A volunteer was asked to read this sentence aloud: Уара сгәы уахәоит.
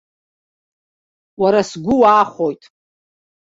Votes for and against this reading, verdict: 1, 2, rejected